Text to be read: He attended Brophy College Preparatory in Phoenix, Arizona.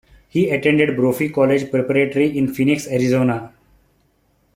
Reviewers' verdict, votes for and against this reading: accepted, 3, 1